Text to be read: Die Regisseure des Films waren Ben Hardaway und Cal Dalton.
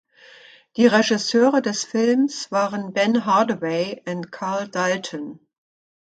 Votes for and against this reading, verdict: 0, 2, rejected